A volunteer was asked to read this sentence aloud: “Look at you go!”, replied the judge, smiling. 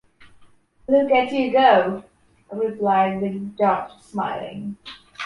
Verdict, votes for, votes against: accepted, 2, 0